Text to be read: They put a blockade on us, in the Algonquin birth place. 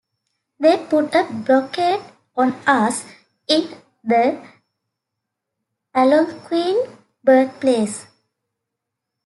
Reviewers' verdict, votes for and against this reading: rejected, 0, 2